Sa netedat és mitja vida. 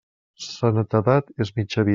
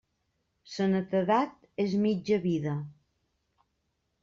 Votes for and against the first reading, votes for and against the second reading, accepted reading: 1, 2, 2, 0, second